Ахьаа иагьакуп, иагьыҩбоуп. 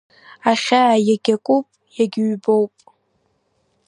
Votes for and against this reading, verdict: 2, 1, accepted